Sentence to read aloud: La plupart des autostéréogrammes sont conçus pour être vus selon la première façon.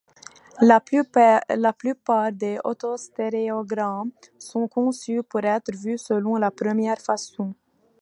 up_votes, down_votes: 1, 2